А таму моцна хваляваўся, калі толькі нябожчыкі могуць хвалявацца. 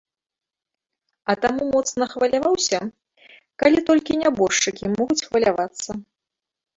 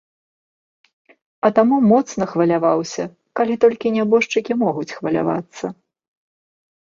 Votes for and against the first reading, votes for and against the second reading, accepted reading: 1, 2, 2, 1, second